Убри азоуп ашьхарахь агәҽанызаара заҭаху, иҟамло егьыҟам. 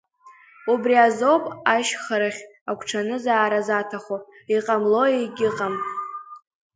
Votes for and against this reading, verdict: 2, 0, accepted